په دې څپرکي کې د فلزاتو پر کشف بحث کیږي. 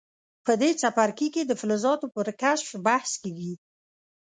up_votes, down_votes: 2, 0